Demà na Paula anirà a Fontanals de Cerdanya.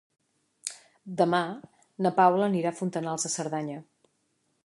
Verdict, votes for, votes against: accepted, 3, 0